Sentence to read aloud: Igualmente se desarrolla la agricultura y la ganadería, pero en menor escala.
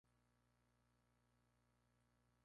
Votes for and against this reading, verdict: 0, 2, rejected